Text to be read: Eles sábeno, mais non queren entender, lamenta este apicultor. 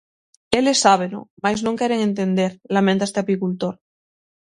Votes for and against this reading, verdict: 6, 0, accepted